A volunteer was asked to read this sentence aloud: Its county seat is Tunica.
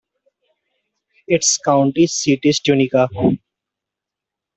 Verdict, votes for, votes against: accepted, 2, 1